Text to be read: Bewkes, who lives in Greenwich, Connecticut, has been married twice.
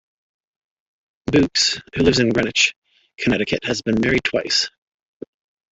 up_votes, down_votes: 0, 2